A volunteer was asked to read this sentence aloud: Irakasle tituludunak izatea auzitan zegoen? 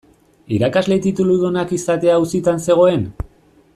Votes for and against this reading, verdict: 2, 0, accepted